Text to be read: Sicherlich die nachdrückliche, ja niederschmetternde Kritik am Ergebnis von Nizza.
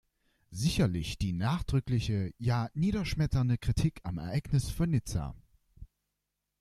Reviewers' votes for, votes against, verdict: 1, 2, rejected